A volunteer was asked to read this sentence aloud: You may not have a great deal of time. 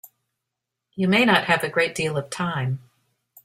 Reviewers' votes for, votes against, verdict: 3, 0, accepted